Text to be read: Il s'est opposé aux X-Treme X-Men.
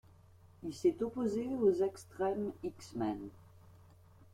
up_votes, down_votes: 2, 1